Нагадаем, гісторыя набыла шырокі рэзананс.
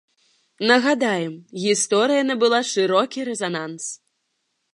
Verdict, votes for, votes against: accepted, 2, 0